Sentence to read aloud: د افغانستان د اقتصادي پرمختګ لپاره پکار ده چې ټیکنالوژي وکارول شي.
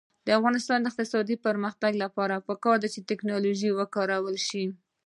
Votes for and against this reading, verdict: 2, 1, accepted